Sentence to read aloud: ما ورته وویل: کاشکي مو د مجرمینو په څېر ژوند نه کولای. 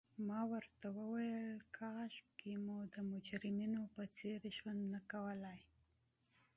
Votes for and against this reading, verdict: 3, 1, accepted